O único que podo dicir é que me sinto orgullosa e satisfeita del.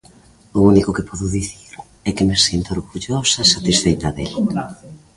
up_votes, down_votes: 2, 0